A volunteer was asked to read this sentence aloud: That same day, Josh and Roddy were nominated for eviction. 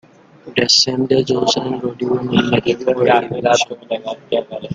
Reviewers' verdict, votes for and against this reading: rejected, 1, 2